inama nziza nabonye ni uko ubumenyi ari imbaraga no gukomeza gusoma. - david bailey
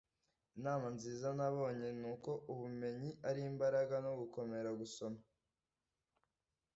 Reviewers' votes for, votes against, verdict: 1, 2, rejected